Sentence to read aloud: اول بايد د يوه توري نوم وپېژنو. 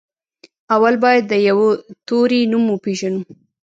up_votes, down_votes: 1, 2